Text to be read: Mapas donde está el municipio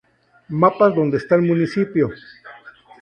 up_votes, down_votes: 2, 0